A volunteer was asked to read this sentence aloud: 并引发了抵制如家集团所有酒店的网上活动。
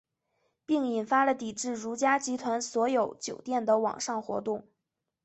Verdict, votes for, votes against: accepted, 3, 0